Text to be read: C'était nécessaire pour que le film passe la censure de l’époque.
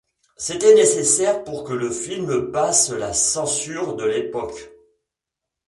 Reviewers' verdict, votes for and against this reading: accepted, 2, 0